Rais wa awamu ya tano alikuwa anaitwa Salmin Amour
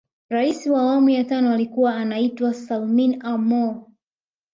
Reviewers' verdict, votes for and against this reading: accepted, 2, 0